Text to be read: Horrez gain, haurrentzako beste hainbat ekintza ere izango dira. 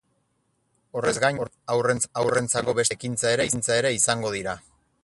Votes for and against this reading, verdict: 0, 8, rejected